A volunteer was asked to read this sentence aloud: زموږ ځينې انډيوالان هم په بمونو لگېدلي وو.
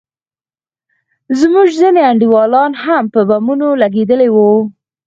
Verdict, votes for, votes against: accepted, 4, 0